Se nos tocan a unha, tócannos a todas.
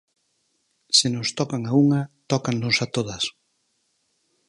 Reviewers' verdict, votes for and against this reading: accepted, 4, 0